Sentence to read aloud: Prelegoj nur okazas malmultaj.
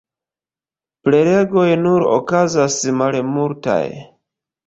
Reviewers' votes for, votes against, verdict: 1, 2, rejected